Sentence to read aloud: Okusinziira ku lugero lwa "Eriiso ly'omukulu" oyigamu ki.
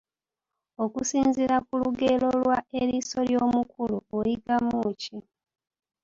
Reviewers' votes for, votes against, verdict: 2, 1, accepted